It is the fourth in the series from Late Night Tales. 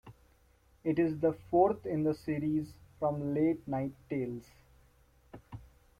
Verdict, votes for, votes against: rejected, 1, 2